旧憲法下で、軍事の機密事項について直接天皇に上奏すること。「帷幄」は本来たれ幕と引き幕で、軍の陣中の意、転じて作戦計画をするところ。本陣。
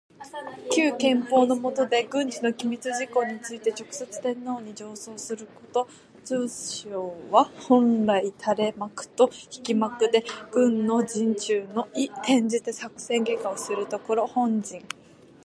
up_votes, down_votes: 1, 2